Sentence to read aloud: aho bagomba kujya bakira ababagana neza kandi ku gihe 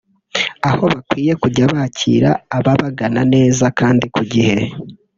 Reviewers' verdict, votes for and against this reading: rejected, 1, 2